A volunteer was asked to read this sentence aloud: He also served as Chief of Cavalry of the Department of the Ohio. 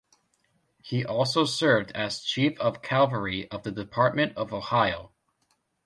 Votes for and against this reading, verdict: 1, 2, rejected